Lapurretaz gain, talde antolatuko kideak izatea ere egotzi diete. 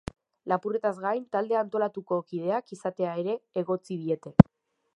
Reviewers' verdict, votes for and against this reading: accepted, 2, 0